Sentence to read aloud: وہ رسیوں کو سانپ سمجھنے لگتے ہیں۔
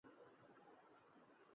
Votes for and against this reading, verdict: 9, 21, rejected